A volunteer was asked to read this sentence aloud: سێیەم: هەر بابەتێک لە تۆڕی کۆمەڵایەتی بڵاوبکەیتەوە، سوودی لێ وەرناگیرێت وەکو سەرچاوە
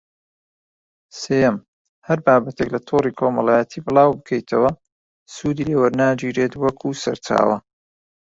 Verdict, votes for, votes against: rejected, 1, 2